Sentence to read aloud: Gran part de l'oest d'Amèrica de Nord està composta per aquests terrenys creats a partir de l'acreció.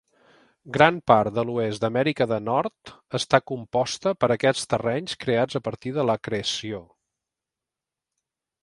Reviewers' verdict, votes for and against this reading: accepted, 2, 1